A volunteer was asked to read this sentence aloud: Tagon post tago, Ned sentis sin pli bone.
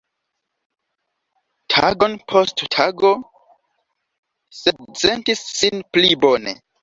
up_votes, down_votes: 1, 2